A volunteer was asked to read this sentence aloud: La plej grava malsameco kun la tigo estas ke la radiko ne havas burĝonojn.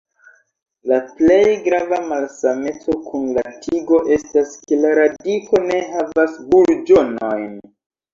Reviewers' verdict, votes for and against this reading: accepted, 2, 1